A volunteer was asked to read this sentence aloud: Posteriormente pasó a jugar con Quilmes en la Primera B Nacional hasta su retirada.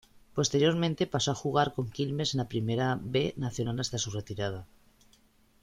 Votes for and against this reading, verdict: 2, 0, accepted